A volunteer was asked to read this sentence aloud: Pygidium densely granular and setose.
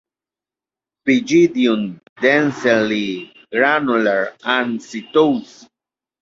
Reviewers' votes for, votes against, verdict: 2, 0, accepted